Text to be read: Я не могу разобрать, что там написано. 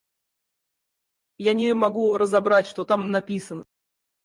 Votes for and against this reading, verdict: 0, 4, rejected